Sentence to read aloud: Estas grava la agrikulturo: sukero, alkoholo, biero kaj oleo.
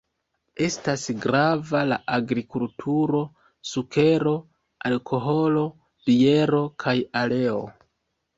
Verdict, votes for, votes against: rejected, 1, 2